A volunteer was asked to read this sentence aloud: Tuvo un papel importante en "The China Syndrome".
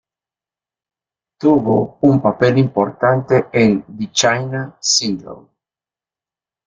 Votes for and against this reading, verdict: 2, 0, accepted